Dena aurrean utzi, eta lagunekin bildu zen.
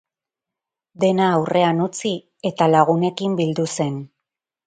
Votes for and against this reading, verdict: 4, 0, accepted